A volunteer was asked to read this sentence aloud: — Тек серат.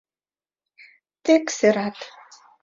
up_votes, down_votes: 2, 0